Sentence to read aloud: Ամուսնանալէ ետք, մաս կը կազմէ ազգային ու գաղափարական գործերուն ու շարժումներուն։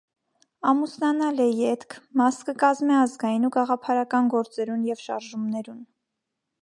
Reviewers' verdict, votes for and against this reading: rejected, 1, 2